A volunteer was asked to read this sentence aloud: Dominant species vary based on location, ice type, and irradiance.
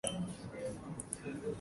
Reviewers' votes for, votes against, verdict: 0, 2, rejected